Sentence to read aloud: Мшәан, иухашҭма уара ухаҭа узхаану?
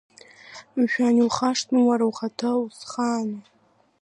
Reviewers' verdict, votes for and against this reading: accepted, 2, 0